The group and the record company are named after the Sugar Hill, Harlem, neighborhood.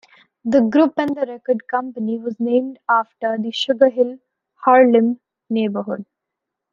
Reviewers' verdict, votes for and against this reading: rejected, 1, 2